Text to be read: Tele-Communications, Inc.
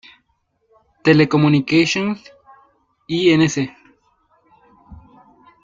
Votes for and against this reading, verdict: 0, 2, rejected